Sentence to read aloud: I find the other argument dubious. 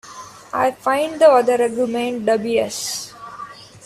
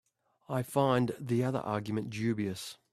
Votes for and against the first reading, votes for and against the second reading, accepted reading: 0, 2, 2, 0, second